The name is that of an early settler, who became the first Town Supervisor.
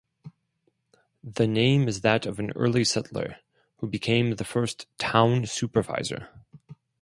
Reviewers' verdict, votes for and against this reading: accepted, 4, 0